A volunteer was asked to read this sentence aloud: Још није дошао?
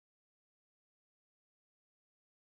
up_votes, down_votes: 0, 2